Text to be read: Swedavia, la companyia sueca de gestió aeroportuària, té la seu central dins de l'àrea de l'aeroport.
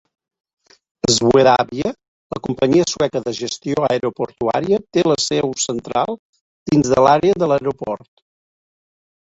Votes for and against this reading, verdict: 2, 0, accepted